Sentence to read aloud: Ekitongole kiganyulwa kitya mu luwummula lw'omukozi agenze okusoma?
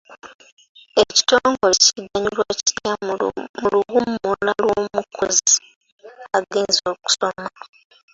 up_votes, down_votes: 0, 2